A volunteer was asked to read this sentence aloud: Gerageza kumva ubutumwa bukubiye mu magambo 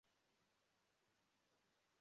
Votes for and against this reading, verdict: 0, 2, rejected